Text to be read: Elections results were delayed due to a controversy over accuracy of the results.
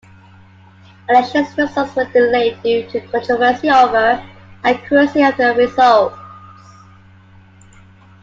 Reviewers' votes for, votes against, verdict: 2, 0, accepted